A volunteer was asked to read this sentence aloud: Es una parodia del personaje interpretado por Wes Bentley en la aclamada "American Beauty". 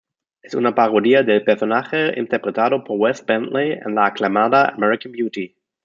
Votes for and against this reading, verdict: 2, 0, accepted